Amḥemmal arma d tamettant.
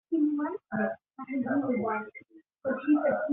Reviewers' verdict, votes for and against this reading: rejected, 0, 2